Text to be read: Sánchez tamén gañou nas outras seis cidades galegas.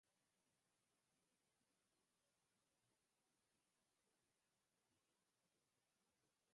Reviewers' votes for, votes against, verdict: 0, 2, rejected